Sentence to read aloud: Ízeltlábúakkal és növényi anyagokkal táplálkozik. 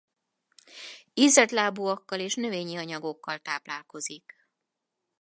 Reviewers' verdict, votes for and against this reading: accepted, 4, 0